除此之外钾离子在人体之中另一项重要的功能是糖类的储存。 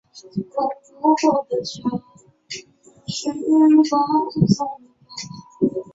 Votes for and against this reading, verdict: 0, 2, rejected